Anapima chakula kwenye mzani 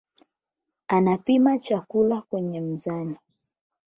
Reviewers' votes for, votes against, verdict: 0, 8, rejected